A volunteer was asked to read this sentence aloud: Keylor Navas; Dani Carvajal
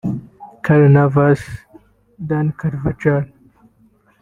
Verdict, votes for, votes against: rejected, 2, 3